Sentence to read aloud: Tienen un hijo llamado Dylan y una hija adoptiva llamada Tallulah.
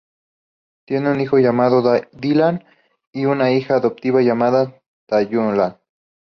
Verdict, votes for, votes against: accepted, 2, 0